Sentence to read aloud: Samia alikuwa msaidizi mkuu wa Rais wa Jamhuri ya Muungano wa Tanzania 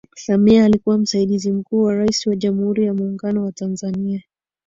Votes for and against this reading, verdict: 2, 0, accepted